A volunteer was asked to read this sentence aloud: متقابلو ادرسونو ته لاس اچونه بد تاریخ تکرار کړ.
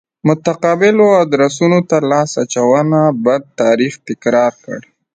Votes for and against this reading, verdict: 2, 0, accepted